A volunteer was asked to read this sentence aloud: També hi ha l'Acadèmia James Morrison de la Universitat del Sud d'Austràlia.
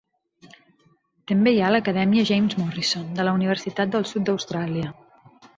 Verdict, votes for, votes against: accepted, 3, 0